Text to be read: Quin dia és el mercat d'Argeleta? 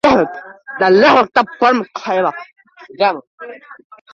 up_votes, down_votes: 0, 2